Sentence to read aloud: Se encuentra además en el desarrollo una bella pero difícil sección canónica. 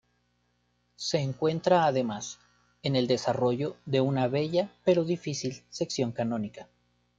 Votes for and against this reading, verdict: 1, 2, rejected